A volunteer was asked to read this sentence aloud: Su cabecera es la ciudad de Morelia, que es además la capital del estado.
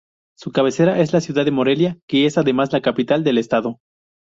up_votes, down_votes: 2, 0